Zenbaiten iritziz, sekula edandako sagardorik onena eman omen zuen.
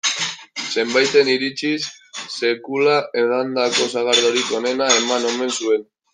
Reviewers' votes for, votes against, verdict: 1, 2, rejected